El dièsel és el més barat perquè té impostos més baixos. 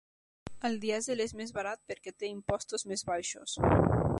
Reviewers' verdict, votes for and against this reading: rejected, 1, 2